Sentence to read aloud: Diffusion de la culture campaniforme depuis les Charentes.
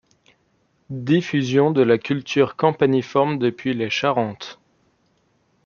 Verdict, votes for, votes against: accepted, 2, 0